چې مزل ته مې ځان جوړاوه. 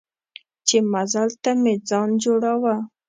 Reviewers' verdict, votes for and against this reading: accepted, 2, 0